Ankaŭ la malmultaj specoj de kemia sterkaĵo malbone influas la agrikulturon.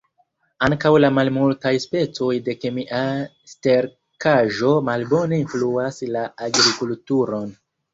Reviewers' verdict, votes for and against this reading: rejected, 0, 2